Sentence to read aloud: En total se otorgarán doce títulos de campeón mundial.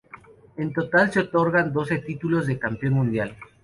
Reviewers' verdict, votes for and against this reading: accepted, 2, 0